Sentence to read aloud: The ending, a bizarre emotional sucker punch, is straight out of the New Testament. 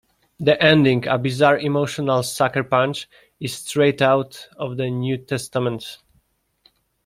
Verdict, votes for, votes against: accepted, 2, 0